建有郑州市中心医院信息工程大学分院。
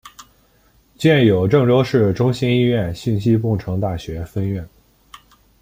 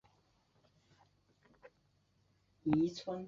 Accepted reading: first